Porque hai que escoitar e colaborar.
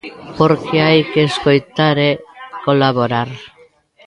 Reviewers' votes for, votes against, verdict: 2, 1, accepted